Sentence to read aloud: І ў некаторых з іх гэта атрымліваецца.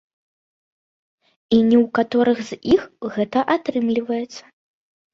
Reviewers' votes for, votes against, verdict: 1, 2, rejected